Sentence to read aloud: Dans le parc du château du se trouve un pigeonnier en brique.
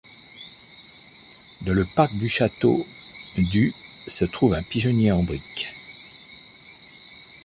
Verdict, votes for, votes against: rejected, 1, 2